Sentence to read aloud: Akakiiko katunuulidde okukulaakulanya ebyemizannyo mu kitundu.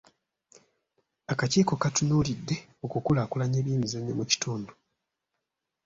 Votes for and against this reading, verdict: 2, 0, accepted